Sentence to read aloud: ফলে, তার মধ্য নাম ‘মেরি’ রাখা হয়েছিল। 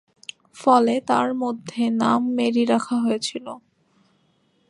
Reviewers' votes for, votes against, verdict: 1, 2, rejected